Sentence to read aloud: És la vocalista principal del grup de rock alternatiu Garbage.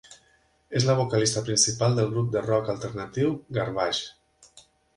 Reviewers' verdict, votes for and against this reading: accepted, 5, 0